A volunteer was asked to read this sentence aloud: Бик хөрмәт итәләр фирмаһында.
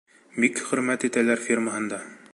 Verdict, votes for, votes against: accepted, 2, 0